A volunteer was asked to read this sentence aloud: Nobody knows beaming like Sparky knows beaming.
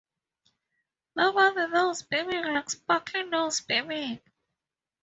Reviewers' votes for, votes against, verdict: 0, 4, rejected